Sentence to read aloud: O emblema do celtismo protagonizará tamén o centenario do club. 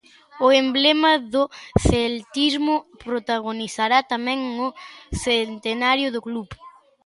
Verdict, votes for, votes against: accepted, 2, 0